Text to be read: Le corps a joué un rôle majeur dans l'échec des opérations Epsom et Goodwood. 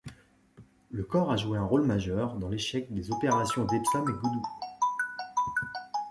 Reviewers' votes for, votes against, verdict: 0, 2, rejected